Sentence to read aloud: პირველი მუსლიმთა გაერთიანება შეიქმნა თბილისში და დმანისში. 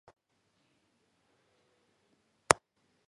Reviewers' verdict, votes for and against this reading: rejected, 0, 2